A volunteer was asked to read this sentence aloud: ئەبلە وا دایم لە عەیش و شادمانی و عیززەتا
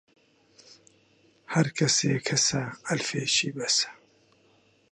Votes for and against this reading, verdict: 0, 2, rejected